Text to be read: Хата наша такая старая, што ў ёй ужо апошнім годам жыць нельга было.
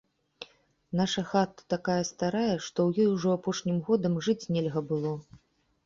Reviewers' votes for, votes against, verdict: 0, 2, rejected